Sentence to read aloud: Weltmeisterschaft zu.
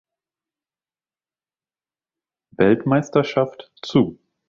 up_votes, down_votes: 2, 0